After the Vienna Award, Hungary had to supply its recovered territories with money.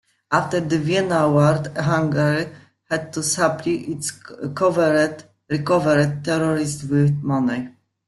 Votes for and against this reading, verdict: 0, 2, rejected